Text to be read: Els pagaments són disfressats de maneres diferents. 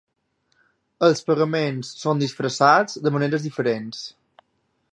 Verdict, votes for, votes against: accepted, 2, 0